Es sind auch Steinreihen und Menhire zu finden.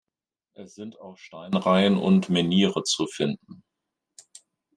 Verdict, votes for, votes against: accepted, 2, 1